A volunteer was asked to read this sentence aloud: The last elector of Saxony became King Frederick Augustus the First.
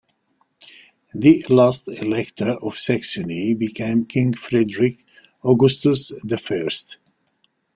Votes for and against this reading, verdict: 2, 0, accepted